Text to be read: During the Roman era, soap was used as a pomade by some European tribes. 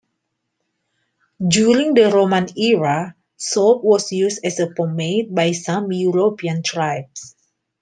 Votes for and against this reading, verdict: 2, 0, accepted